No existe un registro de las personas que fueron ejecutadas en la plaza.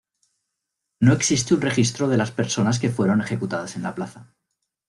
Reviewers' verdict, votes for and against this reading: accepted, 2, 0